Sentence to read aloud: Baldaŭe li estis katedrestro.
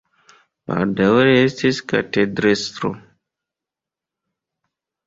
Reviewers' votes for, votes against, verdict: 2, 0, accepted